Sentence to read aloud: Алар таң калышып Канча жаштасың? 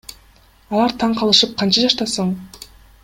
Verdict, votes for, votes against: accepted, 2, 0